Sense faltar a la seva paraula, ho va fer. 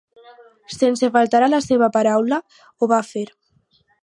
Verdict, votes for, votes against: accepted, 4, 0